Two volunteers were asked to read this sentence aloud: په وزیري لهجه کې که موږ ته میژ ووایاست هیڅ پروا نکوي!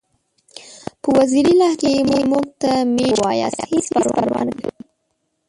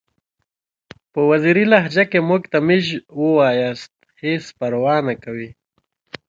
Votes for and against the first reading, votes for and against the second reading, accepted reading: 0, 2, 2, 0, second